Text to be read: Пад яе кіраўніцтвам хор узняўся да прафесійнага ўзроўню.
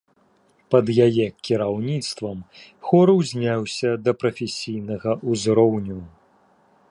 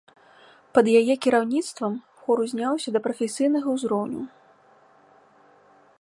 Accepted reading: first